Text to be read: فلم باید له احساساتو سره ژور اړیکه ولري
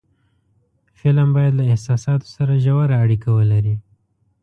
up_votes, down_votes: 2, 0